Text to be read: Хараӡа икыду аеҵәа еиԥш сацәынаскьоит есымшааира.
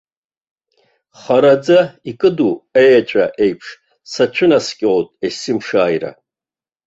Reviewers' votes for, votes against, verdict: 2, 0, accepted